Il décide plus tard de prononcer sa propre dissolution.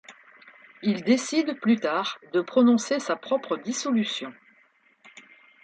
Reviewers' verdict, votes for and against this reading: accepted, 2, 0